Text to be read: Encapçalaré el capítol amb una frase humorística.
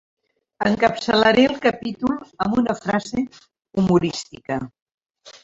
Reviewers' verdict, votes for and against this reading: rejected, 0, 2